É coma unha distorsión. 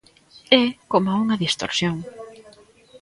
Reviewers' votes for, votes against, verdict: 1, 2, rejected